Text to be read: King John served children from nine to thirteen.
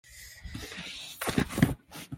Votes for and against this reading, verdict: 0, 2, rejected